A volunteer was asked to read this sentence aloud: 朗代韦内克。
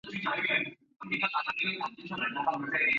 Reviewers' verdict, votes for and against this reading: rejected, 0, 2